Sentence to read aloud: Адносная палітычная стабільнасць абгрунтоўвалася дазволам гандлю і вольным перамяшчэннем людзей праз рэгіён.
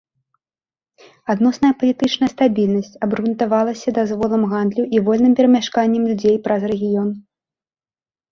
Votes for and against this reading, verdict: 1, 2, rejected